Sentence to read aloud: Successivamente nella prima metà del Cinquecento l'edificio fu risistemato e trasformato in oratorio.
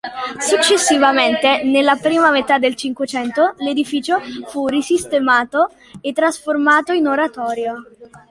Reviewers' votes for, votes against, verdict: 2, 1, accepted